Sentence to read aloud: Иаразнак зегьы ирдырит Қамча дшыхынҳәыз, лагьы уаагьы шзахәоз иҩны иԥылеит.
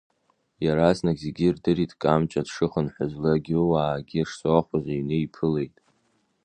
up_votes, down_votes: 2, 1